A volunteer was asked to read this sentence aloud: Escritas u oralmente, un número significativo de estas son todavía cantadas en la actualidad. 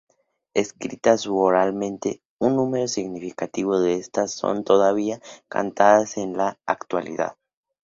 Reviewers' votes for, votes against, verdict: 2, 0, accepted